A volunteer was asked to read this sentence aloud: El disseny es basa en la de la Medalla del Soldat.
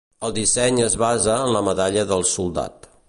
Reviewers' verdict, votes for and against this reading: rejected, 1, 2